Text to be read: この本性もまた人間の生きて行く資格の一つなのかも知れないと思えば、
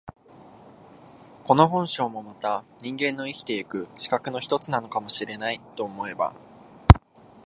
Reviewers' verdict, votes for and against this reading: accepted, 2, 0